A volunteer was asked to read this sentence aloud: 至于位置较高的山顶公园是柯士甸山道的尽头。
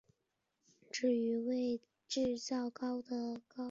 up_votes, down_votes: 1, 3